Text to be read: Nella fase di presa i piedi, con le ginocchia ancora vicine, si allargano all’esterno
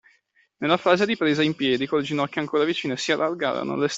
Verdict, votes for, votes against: rejected, 0, 2